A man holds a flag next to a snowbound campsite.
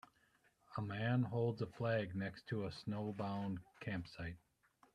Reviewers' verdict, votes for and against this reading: accepted, 2, 0